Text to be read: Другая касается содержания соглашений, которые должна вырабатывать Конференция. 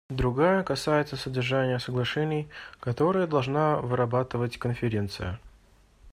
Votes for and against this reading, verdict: 2, 0, accepted